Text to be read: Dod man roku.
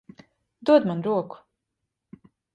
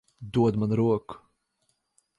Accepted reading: first